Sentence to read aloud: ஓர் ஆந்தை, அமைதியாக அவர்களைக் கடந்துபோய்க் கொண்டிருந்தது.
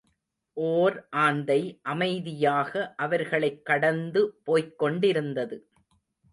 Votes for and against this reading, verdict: 2, 0, accepted